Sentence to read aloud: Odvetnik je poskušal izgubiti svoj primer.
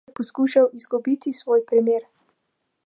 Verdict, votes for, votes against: rejected, 0, 2